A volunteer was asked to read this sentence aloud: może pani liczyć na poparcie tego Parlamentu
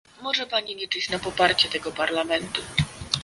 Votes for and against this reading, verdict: 2, 0, accepted